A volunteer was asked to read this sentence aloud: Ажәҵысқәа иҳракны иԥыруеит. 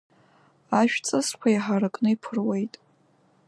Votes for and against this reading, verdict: 1, 2, rejected